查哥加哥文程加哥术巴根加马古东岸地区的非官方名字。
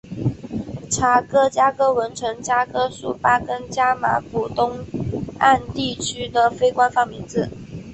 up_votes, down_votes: 2, 1